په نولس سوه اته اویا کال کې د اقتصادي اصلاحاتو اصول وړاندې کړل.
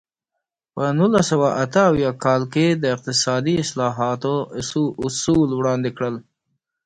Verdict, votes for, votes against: accepted, 2, 0